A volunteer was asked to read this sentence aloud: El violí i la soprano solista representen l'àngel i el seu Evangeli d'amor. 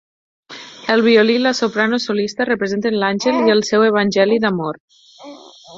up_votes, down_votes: 4, 2